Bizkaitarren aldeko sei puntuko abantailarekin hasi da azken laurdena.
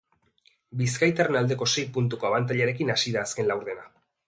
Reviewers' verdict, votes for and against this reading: rejected, 1, 2